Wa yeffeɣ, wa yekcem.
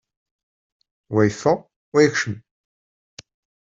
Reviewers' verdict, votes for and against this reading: accepted, 2, 0